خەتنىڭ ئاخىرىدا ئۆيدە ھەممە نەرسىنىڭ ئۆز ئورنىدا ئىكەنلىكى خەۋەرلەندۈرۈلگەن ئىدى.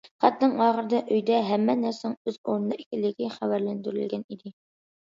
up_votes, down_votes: 2, 0